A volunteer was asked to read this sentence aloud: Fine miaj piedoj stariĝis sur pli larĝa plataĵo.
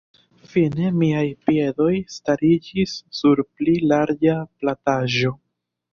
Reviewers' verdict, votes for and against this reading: rejected, 0, 2